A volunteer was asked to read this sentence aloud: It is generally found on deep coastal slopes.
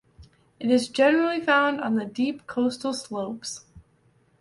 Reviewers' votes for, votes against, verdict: 1, 2, rejected